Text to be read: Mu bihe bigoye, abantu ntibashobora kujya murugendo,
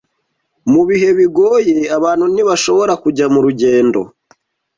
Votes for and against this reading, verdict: 2, 0, accepted